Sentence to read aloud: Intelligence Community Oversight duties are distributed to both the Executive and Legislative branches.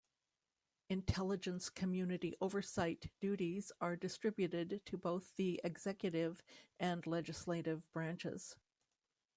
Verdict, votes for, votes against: rejected, 1, 2